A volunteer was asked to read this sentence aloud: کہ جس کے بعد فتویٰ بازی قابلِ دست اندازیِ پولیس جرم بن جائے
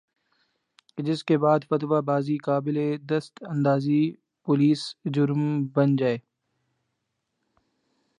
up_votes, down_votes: 3, 0